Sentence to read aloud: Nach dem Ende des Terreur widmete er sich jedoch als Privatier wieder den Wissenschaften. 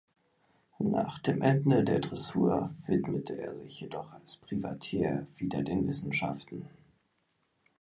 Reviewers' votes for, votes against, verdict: 0, 2, rejected